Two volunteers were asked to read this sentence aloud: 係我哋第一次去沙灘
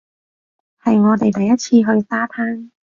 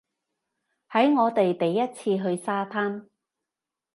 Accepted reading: first